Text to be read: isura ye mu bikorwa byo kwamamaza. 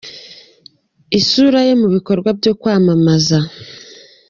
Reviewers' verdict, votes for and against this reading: accepted, 2, 0